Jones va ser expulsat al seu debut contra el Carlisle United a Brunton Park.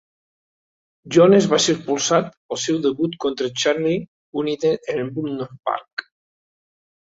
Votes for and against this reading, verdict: 0, 2, rejected